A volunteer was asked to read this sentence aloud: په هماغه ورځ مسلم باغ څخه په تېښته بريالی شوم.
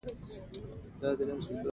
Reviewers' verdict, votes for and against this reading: accepted, 2, 0